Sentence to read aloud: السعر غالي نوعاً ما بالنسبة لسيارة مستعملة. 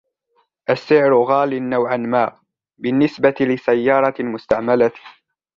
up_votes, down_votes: 2, 0